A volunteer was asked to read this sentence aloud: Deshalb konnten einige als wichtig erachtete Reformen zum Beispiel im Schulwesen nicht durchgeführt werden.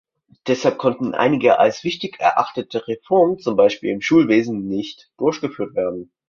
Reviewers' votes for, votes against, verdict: 2, 0, accepted